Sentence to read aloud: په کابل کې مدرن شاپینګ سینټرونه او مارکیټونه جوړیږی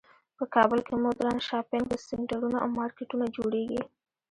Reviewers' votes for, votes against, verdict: 0, 2, rejected